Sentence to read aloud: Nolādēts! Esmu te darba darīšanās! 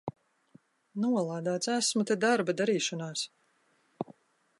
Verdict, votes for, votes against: accepted, 2, 0